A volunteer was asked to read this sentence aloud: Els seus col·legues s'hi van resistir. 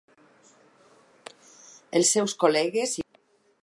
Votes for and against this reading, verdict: 0, 4, rejected